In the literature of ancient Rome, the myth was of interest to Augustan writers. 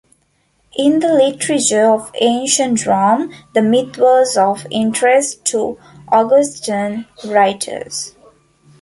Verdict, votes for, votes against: accepted, 2, 0